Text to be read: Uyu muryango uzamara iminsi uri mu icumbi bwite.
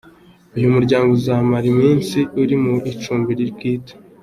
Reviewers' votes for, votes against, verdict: 2, 1, accepted